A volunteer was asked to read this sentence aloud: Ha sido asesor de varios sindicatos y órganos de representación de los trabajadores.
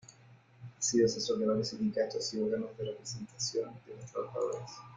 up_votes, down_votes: 0, 2